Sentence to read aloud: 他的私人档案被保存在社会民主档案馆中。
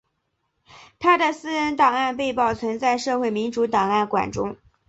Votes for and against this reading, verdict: 2, 0, accepted